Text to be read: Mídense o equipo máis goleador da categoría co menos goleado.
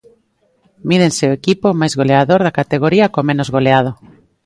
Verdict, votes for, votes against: accepted, 2, 0